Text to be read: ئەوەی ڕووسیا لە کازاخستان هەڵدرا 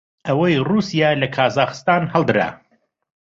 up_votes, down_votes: 2, 0